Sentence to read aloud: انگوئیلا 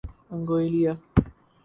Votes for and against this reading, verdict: 0, 2, rejected